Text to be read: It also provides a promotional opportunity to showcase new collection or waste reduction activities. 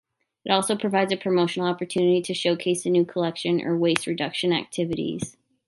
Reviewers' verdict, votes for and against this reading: accepted, 3, 0